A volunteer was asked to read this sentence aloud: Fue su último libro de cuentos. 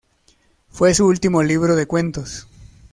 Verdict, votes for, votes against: accepted, 2, 0